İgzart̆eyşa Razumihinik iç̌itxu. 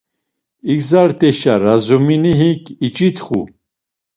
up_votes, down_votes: 1, 2